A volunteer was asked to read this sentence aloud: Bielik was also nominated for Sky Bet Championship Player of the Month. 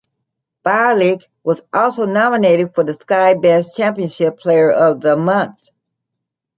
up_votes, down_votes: 1, 2